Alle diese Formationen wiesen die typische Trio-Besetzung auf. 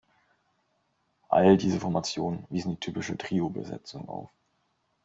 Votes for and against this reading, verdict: 1, 2, rejected